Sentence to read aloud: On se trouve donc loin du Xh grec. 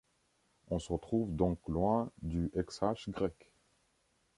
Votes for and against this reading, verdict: 2, 0, accepted